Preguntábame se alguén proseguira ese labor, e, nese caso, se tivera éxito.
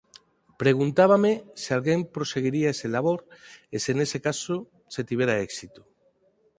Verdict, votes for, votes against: rejected, 0, 4